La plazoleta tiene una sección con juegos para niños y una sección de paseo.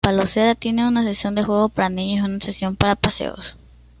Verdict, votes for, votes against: rejected, 1, 2